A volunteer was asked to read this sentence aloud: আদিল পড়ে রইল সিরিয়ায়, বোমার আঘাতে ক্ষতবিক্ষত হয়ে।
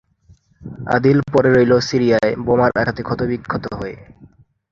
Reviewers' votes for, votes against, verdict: 3, 1, accepted